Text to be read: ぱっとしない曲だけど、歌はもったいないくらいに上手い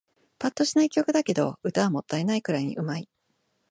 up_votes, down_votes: 2, 0